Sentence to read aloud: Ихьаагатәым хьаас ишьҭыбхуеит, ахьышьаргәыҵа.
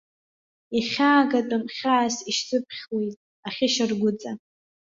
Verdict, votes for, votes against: accepted, 2, 1